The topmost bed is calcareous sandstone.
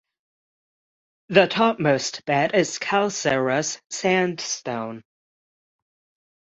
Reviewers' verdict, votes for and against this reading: rejected, 3, 3